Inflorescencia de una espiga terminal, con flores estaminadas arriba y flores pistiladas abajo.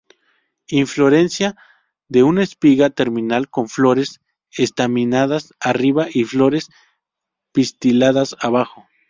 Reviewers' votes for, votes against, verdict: 0, 2, rejected